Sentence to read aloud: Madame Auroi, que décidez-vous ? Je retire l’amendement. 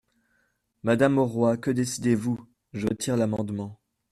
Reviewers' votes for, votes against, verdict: 2, 1, accepted